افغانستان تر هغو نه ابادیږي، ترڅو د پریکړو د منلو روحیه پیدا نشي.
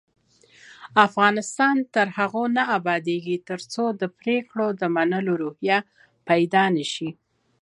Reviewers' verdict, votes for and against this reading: accepted, 2, 0